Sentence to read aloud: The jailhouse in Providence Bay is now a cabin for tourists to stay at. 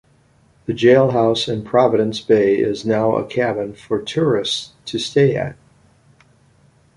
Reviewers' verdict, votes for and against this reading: accepted, 2, 0